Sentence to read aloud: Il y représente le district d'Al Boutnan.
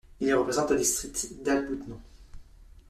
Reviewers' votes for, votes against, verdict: 0, 2, rejected